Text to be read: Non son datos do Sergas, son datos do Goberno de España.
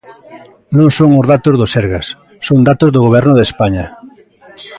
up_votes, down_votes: 0, 2